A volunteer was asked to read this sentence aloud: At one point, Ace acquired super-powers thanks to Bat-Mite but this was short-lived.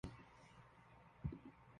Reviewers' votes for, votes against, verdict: 0, 2, rejected